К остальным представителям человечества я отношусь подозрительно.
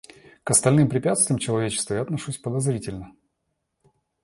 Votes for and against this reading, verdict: 1, 2, rejected